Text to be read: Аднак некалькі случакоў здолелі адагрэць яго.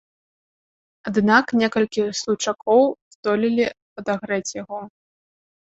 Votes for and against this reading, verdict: 1, 2, rejected